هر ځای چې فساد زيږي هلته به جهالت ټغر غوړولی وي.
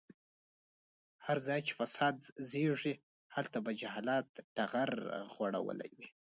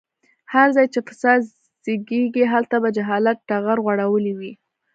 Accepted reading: first